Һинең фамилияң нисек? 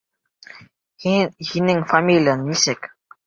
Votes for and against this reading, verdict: 1, 2, rejected